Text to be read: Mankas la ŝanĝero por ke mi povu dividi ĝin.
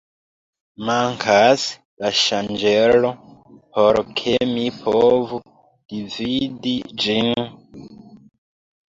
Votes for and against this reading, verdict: 1, 2, rejected